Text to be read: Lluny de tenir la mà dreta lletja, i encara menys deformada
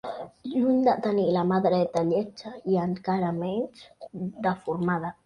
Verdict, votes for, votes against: rejected, 0, 2